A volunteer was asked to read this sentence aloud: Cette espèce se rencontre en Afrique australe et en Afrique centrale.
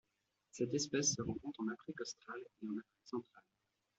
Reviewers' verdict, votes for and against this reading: rejected, 1, 2